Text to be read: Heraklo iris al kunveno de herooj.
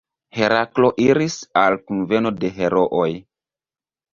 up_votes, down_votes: 2, 0